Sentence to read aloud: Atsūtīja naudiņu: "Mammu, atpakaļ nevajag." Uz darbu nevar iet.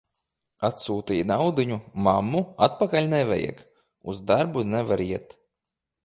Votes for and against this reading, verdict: 2, 0, accepted